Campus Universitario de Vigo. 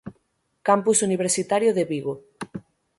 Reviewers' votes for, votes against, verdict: 6, 0, accepted